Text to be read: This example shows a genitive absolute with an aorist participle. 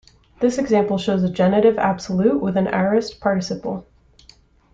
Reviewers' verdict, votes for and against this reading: accepted, 3, 1